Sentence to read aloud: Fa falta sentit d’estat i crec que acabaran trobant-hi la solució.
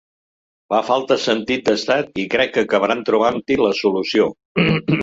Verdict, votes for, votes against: rejected, 1, 2